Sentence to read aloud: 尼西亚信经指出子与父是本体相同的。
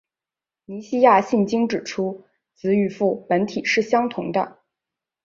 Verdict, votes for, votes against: rejected, 1, 2